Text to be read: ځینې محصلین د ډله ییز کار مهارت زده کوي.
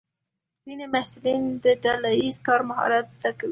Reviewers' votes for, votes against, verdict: 2, 0, accepted